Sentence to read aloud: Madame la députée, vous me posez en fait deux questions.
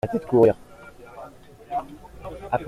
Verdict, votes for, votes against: rejected, 0, 2